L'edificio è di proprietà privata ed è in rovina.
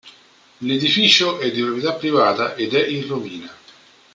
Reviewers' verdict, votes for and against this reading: rejected, 0, 2